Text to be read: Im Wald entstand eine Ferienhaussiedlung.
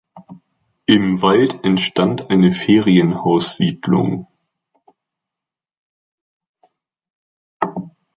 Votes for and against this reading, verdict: 2, 1, accepted